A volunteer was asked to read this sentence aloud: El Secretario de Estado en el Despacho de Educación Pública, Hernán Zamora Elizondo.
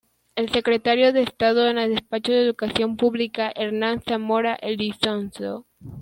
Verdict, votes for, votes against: rejected, 0, 2